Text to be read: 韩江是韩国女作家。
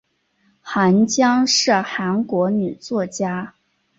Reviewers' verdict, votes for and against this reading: accepted, 2, 0